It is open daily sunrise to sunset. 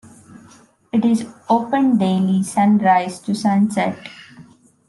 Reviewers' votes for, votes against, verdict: 2, 0, accepted